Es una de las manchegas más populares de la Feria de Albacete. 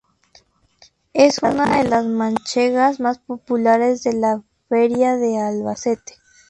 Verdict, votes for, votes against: accepted, 2, 0